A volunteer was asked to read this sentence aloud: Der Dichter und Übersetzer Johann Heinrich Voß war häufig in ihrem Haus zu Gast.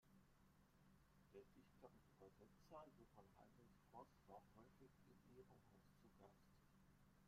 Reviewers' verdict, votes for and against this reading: rejected, 1, 2